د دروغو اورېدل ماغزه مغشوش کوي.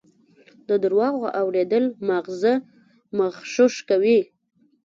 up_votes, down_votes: 1, 2